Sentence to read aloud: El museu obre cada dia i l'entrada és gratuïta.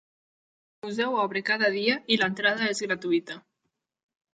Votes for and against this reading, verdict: 0, 2, rejected